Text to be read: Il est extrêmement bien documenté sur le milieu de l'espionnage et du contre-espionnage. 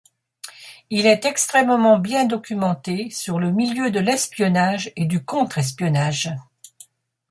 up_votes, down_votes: 2, 0